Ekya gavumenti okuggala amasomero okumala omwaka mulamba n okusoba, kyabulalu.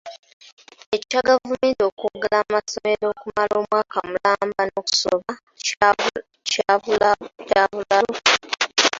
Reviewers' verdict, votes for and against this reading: rejected, 0, 2